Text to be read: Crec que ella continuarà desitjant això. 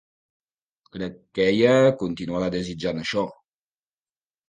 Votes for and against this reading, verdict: 2, 0, accepted